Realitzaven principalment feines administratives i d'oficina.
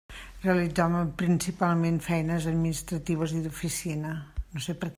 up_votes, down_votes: 1, 2